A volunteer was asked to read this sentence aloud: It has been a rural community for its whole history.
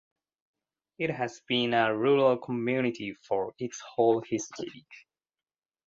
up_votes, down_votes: 0, 2